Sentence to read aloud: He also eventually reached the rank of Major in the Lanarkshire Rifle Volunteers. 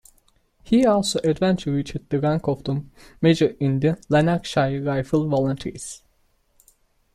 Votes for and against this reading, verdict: 1, 2, rejected